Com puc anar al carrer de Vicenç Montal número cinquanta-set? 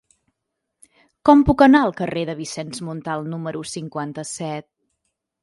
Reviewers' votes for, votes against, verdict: 3, 0, accepted